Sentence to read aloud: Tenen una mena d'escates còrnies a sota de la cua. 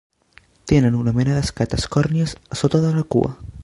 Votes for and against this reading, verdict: 2, 1, accepted